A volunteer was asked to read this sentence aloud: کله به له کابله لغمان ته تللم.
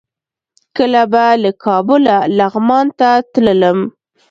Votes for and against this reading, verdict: 2, 0, accepted